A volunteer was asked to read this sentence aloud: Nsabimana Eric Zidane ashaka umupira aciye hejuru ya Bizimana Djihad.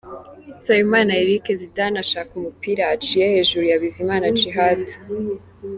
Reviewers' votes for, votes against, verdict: 2, 0, accepted